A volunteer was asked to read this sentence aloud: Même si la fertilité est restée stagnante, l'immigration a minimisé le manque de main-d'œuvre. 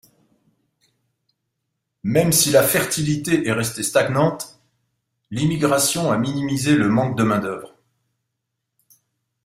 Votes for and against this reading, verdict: 2, 0, accepted